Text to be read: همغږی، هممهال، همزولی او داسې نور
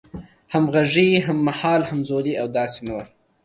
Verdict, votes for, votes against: accepted, 2, 0